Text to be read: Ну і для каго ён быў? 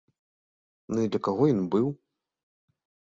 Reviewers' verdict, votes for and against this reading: rejected, 0, 2